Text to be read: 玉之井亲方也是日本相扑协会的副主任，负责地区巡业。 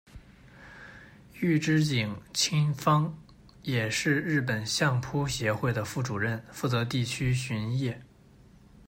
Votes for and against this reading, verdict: 2, 0, accepted